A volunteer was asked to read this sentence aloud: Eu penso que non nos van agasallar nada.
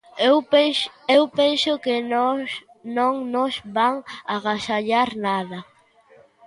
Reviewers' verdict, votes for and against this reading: rejected, 0, 3